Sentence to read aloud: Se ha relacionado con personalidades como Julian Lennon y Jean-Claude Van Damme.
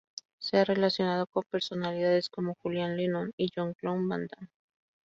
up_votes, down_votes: 0, 2